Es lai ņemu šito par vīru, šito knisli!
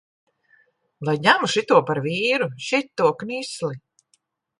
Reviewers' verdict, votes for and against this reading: rejected, 1, 2